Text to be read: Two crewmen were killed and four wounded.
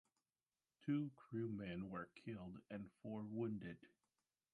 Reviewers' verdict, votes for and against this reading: accepted, 2, 0